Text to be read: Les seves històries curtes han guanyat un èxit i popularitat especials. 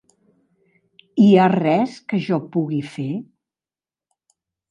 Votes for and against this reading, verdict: 1, 2, rejected